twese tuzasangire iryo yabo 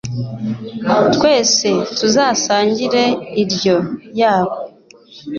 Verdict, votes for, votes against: accepted, 2, 0